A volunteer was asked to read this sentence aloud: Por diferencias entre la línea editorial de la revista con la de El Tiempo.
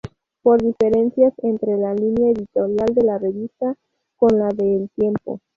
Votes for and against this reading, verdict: 2, 2, rejected